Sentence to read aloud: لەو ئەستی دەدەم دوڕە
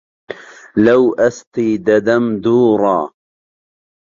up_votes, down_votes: 1, 2